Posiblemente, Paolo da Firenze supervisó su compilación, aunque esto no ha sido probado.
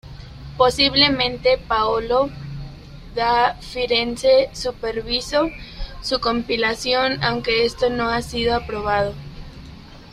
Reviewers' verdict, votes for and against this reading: rejected, 0, 2